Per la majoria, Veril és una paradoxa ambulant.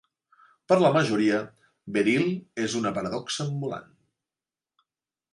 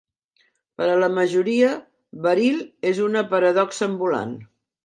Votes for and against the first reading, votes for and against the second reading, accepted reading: 3, 0, 0, 2, first